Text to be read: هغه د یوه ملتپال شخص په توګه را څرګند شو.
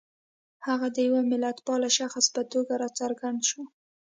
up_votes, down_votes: 2, 0